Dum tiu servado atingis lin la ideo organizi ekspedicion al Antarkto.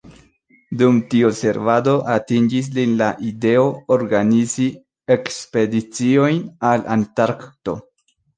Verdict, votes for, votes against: rejected, 0, 2